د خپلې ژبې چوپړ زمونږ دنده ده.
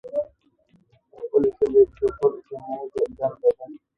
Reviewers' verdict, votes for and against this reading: rejected, 2, 3